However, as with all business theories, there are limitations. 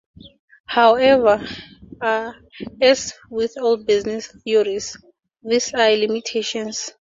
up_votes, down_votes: 2, 2